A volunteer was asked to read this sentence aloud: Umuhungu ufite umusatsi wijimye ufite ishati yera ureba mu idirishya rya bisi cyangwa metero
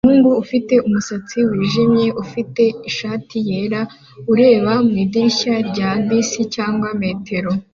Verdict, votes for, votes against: accepted, 2, 0